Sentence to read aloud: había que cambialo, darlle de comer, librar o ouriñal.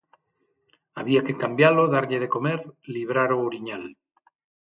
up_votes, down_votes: 6, 0